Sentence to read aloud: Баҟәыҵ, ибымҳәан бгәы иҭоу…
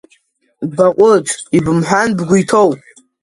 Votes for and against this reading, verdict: 2, 0, accepted